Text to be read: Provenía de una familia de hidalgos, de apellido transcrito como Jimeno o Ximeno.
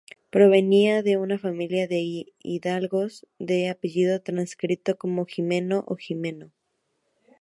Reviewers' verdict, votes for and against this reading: rejected, 0, 2